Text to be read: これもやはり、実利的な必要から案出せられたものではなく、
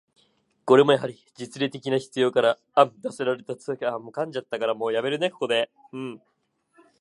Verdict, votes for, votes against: rejected, 0, 2